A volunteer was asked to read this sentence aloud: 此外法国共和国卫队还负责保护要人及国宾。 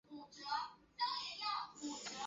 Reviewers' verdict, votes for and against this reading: rejected, 0, 2